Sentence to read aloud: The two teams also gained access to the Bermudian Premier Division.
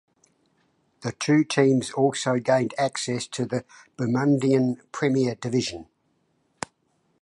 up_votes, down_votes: 1, 2